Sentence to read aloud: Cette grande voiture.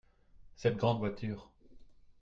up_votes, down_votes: 2, 0